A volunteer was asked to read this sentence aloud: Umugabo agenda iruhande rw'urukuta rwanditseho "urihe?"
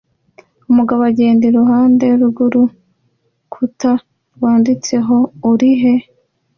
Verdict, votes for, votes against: accepted, 2, 0